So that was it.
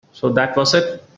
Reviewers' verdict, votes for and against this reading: accepted, 2, 0